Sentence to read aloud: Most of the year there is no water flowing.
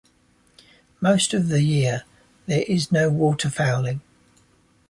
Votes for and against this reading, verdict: 0, 2, rejected